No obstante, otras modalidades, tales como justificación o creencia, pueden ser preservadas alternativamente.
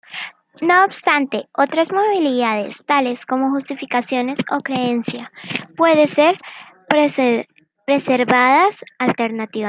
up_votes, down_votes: 0, 2